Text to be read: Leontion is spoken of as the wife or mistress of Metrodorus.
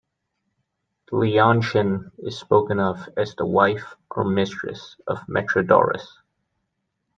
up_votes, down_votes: 2, 0